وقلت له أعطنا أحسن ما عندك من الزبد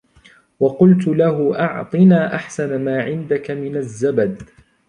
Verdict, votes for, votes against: accepted, 2, 0